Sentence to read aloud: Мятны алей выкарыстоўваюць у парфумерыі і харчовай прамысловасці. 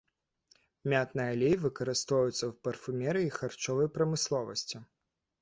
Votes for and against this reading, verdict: 2, 1, accepted